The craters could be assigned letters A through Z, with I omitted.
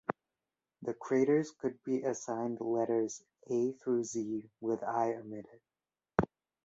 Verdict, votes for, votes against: accepted, 2, 0